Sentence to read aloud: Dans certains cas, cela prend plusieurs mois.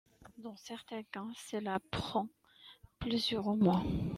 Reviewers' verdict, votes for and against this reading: accepted, 2, 1